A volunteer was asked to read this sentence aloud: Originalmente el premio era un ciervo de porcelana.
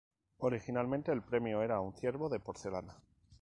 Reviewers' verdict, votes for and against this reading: accepted, 2, 0